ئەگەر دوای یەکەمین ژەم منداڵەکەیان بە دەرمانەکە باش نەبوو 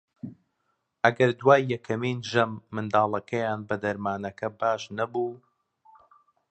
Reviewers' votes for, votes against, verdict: 2, 0, accepted